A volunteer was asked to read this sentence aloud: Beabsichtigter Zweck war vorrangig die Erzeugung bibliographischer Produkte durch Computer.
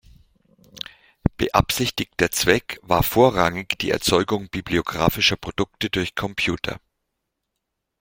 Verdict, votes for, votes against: accepted, 2, 0